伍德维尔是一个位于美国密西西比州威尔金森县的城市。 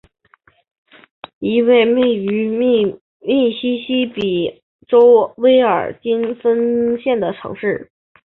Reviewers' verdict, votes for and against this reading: accepted, 6, 2